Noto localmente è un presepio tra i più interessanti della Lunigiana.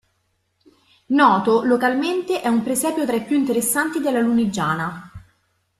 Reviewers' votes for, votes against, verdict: 2, 1, accepted